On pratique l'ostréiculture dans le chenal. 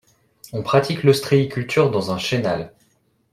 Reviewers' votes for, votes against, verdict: 0, 2, rejected